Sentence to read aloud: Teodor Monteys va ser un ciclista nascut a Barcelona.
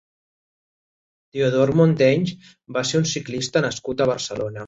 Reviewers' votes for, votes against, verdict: 3, 1, accepted